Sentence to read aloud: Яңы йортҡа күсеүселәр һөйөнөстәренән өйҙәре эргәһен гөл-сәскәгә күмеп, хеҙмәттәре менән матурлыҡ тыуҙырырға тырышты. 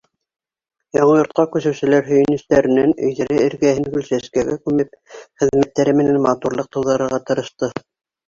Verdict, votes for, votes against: rejected, 1, 2